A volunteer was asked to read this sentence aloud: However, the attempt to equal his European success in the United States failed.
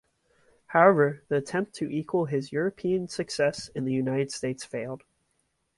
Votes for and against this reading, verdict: 2, 1, accepted